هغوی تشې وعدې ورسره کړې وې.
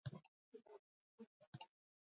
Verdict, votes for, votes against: rejected, 0, 2